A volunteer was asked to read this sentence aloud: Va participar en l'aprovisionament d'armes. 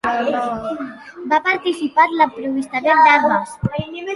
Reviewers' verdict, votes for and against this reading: rejected, 0, 2